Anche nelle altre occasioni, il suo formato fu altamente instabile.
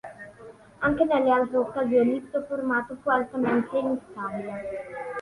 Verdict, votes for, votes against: accepted, 3, 2